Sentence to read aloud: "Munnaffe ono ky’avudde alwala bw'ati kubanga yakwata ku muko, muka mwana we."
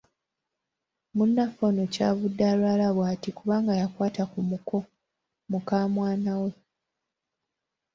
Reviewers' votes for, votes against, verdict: 2, 1, accepted